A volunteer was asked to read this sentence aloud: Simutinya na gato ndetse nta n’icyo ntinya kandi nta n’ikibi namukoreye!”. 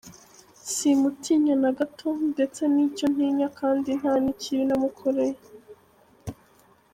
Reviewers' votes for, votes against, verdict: 0, 3, rejected